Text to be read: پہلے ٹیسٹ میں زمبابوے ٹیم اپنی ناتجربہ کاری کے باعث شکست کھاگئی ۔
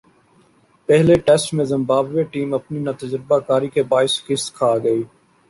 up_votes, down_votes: 2, 1